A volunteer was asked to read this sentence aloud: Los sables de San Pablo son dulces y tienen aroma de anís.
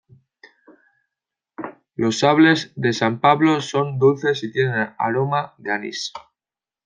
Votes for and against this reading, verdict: 2, 0, accepted